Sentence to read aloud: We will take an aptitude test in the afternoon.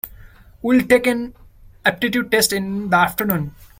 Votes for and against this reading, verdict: 0, 2, rejected